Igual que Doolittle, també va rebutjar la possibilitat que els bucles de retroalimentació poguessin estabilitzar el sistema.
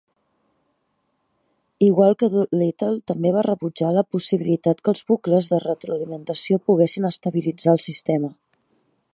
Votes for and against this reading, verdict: 2, 0, accepted